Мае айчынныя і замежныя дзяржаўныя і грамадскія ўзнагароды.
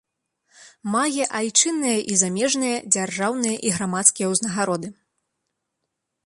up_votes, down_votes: 2, 1